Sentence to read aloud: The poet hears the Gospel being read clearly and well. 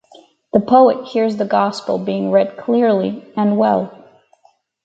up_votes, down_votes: 4, 0